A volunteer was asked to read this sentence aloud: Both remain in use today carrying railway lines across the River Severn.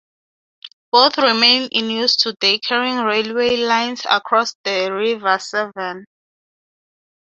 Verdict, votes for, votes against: accepted, 6, 0